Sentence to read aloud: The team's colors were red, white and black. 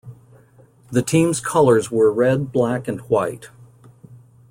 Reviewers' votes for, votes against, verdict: 0, 2, rejected